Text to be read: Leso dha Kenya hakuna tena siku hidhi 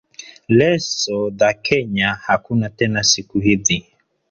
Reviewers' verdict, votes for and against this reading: rejected, 1, 2